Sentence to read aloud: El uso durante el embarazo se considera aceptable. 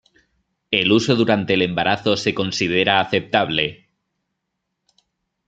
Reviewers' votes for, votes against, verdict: 2, 0, accepted